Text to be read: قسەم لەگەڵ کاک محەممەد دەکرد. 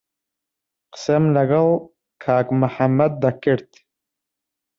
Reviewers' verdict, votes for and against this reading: accepted, 3, 1